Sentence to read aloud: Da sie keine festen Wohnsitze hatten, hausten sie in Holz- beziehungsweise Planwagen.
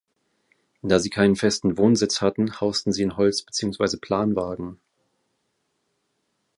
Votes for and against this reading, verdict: 1, 2, rejected